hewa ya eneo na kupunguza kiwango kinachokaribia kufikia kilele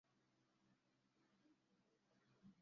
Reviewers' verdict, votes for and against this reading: rejected, 0, 2